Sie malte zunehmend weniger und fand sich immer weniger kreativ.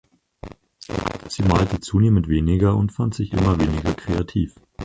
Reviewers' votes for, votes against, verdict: 0, 4, rejected